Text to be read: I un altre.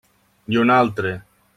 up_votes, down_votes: 3, 0